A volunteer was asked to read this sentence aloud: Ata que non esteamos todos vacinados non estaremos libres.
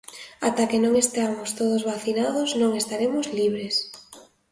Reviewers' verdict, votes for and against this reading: accepted, 2, 0